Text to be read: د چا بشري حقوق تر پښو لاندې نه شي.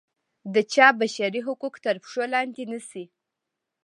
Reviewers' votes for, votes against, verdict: 2, 0, accepted